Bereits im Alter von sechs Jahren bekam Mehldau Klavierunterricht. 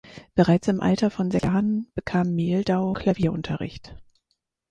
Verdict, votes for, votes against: rejected, 2, 4